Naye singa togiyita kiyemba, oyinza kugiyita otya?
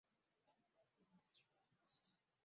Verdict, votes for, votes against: rejected, 0, 2